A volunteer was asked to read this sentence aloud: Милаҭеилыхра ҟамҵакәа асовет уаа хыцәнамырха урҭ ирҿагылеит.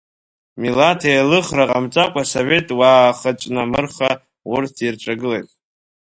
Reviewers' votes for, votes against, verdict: 2, 0, accepted